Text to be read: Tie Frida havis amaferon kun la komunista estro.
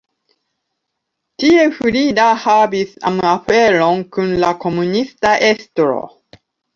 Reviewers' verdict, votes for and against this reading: accepted, 2, 0